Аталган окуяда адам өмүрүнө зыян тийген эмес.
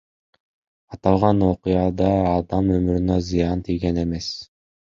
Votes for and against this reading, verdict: 2, 0, accepted